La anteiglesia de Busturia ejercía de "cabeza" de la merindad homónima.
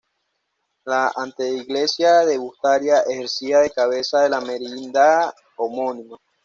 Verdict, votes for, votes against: rejected, 1, 2